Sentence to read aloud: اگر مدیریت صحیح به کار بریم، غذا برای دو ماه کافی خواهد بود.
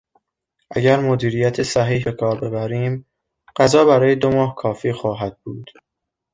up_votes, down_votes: 0, 2